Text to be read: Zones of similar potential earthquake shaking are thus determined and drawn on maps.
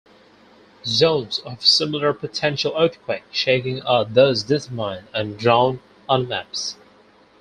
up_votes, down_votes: 0, 4